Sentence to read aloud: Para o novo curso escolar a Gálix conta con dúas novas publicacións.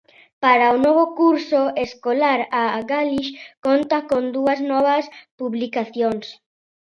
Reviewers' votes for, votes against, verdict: 2, 0, accepted